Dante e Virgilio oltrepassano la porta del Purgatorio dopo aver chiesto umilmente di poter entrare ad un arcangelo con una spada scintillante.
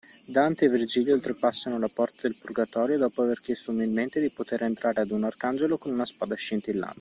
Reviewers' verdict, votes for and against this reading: accepted, 2, 0